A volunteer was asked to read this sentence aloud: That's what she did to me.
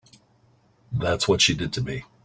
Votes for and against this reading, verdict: 2, 0, accepted